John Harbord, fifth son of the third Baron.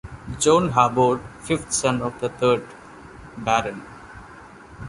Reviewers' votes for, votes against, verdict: 2, 0, accepted